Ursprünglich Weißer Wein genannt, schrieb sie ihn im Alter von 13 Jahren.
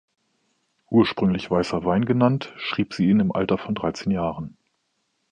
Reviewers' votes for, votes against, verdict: 0, 2, rejected